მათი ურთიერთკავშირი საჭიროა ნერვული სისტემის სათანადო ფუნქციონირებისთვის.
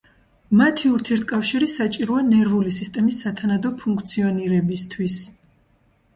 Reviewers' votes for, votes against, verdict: 2, 0, accepted